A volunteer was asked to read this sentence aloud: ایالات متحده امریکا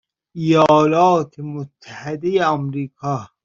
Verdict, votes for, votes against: accepted, 2, 1